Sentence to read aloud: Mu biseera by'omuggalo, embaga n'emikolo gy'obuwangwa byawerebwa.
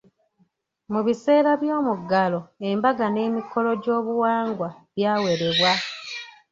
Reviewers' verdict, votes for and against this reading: accepted, 2, 0